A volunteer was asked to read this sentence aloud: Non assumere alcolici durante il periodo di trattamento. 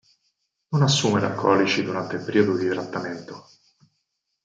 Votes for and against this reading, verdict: 2, 4, rejected